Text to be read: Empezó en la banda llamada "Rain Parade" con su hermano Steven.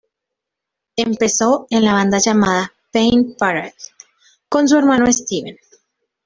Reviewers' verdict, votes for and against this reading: rejected, 0, 2